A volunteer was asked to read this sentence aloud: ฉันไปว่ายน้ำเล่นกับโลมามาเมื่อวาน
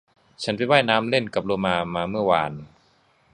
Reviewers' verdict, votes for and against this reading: accepted, 2, 0